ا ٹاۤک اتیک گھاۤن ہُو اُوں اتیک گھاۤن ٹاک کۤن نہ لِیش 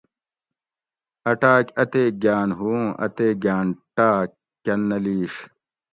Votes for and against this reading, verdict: 2, 0, accepted